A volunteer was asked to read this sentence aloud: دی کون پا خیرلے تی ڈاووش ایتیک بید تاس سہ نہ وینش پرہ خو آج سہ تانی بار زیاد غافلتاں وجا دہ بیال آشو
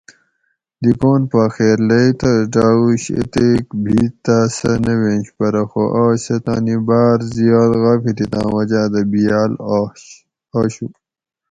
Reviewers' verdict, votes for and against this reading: rejected, 2, 2